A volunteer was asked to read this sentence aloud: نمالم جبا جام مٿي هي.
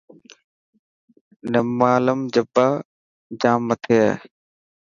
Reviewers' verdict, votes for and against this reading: accepted, 4, 0